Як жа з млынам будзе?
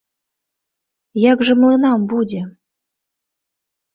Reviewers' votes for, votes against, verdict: 1, 2, rejected